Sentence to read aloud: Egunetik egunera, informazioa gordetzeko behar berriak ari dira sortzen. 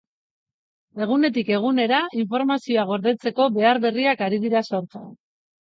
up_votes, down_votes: 3, 0